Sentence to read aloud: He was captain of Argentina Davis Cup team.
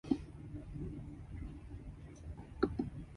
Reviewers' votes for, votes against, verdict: 0, 3, rejected